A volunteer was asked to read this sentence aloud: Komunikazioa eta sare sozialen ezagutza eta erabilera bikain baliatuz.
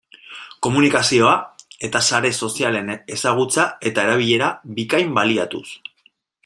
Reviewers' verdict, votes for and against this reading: accepted, 2, 1